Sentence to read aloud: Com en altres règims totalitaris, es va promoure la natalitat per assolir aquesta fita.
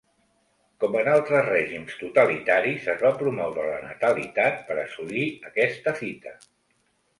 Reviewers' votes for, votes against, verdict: 2, 0, accepted